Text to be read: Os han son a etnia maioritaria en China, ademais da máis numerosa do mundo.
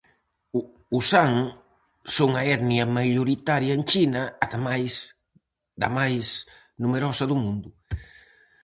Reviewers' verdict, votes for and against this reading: rejected, 2, 2